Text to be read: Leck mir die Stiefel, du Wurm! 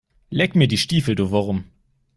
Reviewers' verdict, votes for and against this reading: accepted, 2, 0